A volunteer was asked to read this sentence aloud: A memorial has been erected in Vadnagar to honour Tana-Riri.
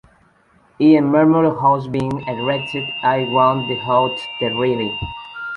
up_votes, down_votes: 1, 2